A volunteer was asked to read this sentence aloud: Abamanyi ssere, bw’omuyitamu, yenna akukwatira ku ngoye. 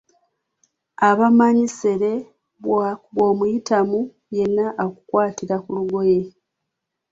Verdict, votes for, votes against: rejected, 0, 2